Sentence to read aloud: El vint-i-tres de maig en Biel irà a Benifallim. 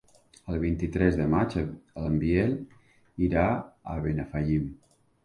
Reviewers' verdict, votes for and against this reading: rejected, 0, 3